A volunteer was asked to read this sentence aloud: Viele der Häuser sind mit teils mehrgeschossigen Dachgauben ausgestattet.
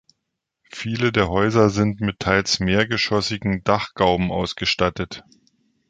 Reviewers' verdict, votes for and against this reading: accepted, 2, 0